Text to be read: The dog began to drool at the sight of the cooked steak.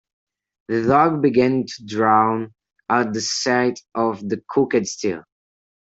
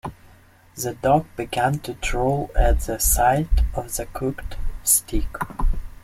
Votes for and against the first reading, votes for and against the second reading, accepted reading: 0, 2, 2, 1, second